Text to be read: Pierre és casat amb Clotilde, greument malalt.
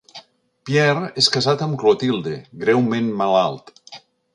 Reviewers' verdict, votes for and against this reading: accepted, 2, 0